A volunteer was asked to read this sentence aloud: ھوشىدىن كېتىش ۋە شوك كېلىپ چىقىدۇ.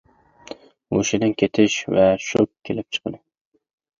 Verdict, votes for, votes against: rejected, 0, 2